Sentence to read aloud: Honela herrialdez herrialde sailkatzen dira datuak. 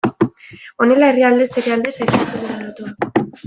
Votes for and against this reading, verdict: 1, 2, rejected